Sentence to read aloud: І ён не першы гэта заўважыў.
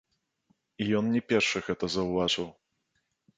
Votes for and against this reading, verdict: 1, 2, rejected